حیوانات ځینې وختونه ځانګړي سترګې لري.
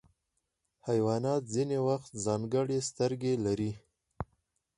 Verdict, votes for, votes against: accepted, 4, 0